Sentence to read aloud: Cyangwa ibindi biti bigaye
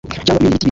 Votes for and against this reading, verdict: 1, 2, rejected